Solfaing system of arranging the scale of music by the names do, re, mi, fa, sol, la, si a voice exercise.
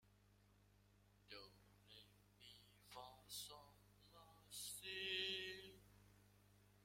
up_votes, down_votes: 1, 2